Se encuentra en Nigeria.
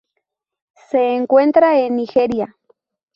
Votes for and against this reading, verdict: 2, 0, accepted